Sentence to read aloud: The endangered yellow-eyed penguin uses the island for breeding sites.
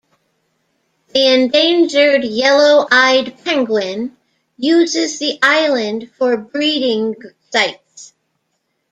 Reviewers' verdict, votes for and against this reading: accepted, 2, 0